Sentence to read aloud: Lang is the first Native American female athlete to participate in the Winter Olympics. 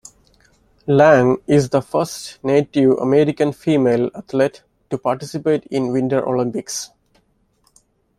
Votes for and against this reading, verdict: 1, 2, rejected